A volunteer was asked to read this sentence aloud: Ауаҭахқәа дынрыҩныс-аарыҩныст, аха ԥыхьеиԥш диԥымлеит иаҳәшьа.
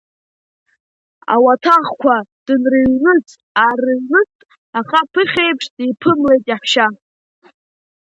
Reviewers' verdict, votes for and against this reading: accepted, 2, 1